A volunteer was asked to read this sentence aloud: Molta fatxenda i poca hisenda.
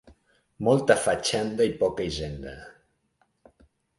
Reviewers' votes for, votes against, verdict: 2, 0, accepted